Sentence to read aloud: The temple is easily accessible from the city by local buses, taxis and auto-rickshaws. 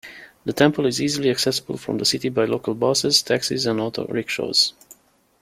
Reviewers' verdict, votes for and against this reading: accepted, 2, 0